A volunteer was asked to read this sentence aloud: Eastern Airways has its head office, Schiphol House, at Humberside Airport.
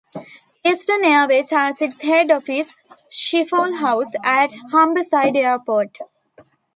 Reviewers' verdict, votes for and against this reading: accepted, 2, 0